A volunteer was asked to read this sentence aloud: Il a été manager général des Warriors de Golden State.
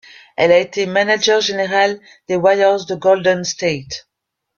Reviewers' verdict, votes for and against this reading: rejected, 1, 2